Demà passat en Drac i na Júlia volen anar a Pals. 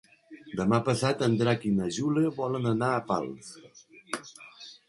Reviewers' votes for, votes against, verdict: 2, 0, accepted